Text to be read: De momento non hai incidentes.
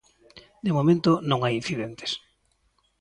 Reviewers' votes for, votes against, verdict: 2, 0, accepted